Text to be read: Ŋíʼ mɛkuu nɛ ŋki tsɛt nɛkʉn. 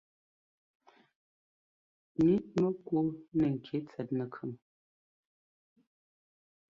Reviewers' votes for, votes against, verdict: 1, 2, rejected